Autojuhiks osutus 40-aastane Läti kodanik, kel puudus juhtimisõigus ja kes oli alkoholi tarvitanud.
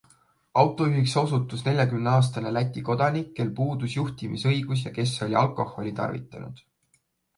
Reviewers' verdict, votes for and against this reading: rejected, 0, 2